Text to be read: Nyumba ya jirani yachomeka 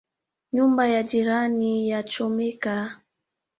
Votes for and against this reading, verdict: 2, 1, accepted